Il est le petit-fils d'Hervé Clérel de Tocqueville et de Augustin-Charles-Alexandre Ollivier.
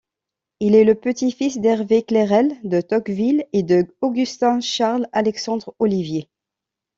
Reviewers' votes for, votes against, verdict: 2, 0, accepted